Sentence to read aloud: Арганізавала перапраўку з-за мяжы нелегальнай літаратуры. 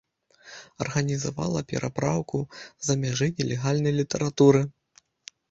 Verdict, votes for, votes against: accepted, 2, 0